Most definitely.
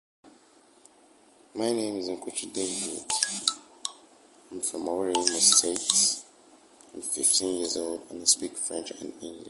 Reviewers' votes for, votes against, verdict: 0, 2, rejected